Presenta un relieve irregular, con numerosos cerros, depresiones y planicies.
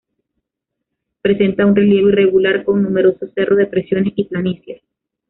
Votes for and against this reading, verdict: 1, 2, rejected